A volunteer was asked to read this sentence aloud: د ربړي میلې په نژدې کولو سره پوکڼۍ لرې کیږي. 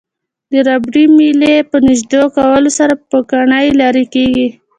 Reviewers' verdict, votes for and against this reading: accepted, 2, 0